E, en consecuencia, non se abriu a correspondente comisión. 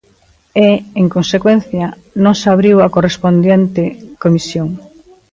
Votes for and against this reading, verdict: 0, 2, rejected